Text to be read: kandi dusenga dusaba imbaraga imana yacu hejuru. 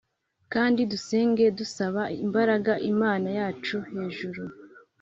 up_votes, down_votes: 3, 0